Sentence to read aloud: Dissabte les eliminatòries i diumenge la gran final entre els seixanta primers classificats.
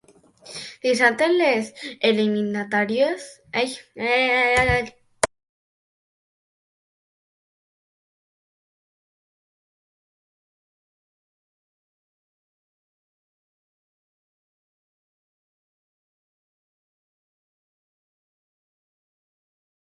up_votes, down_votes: 0, 5